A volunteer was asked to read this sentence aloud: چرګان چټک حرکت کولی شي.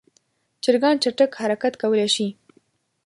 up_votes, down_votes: 2, 0